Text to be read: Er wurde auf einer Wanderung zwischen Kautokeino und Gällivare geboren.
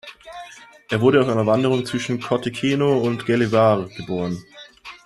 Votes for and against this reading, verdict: 2, 3, rejected